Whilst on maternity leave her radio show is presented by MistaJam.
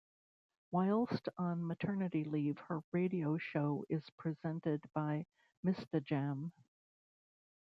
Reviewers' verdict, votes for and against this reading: rejected, 0, 2